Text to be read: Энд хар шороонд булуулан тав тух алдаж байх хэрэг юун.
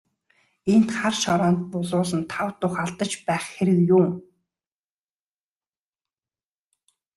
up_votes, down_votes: 2, 0